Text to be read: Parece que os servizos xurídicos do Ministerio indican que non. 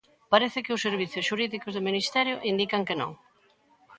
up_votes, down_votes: 1, 2